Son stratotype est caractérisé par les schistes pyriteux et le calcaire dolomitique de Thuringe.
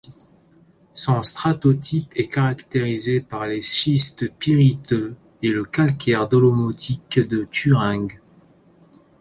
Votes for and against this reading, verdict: 0, 2, rejected